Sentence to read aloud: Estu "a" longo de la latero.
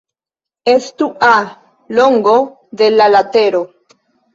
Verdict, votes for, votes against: rejected, 1, 2